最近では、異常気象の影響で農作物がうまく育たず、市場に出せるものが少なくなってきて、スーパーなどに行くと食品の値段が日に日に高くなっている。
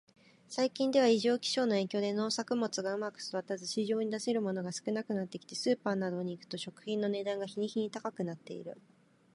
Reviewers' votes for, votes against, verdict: 3, 0, accepted